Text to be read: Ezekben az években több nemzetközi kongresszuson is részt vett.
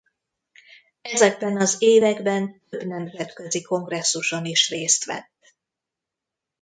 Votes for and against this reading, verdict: 1, 2, rejected